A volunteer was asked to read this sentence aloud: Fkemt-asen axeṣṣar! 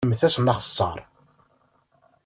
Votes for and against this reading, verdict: 0, 2, rejected